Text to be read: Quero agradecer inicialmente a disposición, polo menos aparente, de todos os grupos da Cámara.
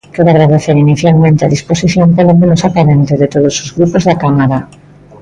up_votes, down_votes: 2, 0